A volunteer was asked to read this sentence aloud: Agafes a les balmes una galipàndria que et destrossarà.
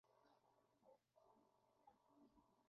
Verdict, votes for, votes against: rejected, 0, 2